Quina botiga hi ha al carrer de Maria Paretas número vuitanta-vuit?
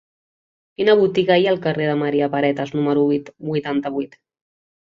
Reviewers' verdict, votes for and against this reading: rejected, 0, 2